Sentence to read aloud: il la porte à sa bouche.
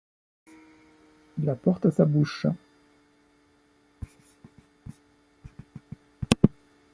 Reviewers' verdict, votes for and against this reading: rejected, 1, 2